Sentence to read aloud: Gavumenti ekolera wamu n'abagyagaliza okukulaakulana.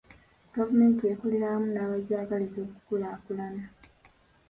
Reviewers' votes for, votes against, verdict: 2, 1, accepted